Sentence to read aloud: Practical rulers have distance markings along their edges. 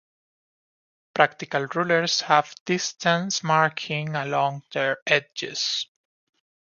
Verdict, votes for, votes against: rejected, 0, 2